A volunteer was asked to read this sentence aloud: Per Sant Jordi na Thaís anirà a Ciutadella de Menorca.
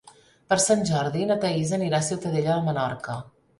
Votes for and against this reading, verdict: 3, 0, accepted